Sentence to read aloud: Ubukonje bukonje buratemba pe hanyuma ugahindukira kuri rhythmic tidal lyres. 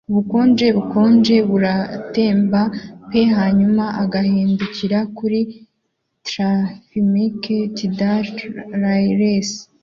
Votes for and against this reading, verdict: 0, 2, rejected